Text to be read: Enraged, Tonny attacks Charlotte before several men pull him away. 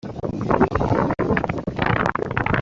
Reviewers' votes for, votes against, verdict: 0, 2, rejected